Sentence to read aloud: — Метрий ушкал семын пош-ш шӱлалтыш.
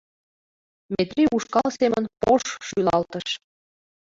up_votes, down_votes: 2, 0